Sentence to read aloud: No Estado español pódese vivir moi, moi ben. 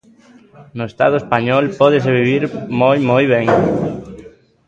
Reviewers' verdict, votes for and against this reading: accepted, 2, 0